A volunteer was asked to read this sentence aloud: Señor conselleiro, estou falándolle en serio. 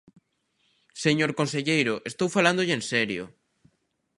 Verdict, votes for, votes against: accepted, 2, 0